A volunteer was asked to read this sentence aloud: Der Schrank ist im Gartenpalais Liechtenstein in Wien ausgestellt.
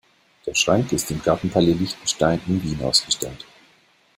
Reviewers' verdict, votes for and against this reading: accepted, 2, 0